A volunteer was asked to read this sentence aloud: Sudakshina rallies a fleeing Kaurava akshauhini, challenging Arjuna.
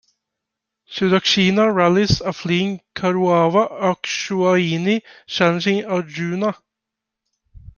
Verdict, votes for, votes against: rejected, 1, 2